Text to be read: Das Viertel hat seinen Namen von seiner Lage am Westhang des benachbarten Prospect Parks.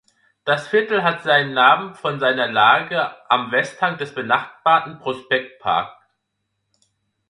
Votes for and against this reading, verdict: 0, 2, rejected